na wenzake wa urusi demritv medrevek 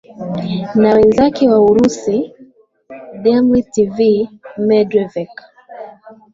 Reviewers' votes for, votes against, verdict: 2, 0, accepted